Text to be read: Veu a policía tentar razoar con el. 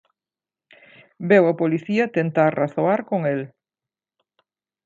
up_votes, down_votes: 2, 0